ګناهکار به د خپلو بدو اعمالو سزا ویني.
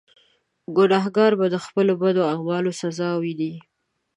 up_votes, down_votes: 2, 0